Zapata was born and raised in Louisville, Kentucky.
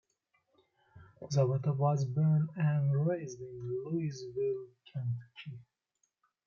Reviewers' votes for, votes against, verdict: 2, 0, accepted